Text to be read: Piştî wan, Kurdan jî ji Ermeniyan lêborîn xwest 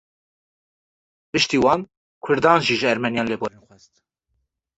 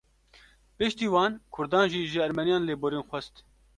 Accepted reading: second